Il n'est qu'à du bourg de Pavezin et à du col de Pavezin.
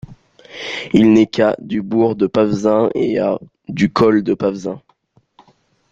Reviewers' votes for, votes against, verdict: 1, 2, rejected